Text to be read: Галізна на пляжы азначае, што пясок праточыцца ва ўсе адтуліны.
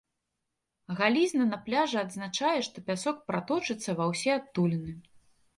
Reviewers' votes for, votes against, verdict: 1, 2, rejected